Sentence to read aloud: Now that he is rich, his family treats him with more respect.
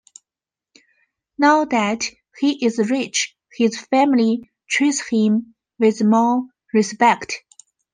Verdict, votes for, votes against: accepted, 2, 0